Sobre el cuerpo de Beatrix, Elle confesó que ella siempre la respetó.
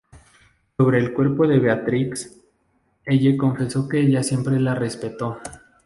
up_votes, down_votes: 2, 0